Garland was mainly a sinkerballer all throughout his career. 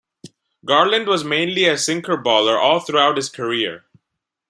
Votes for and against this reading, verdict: 2, 0, accepted